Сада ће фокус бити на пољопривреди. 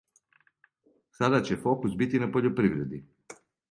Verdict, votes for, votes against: accepted, 2, 0